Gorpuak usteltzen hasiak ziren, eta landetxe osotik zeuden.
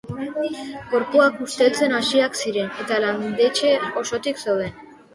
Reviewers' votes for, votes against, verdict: 2, 0, accepted